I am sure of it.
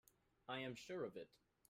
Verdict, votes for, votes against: rejected, 1, 2